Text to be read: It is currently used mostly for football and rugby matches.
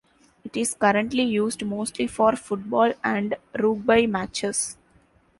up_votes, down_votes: 2, 0